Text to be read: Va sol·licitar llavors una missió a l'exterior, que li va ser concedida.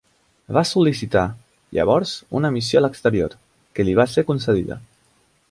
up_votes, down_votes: 4, 0